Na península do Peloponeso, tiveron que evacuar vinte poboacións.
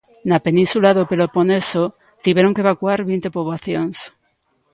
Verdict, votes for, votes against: accepted, 2, 0